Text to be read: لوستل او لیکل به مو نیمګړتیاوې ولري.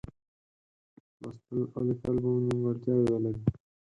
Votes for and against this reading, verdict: 0, 4, rejected